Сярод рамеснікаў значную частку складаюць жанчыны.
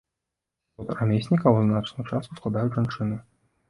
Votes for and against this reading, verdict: 0, 2, rejected